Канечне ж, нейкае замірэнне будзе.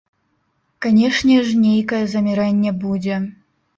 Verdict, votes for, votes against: accepted, 2, 0